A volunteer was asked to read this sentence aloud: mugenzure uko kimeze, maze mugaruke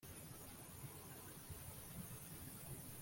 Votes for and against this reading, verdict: 1, 2, rejected